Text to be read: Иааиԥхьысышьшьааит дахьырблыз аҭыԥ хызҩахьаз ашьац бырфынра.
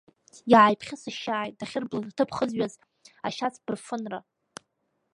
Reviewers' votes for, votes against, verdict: 2, 1, accepted